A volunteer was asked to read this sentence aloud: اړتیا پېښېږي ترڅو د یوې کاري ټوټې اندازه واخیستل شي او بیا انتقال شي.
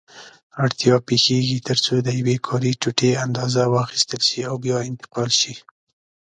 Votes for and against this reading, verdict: 2, 0, accepted